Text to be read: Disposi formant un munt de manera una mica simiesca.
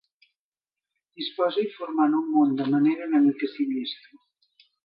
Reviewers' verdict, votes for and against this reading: rejected, 1, 2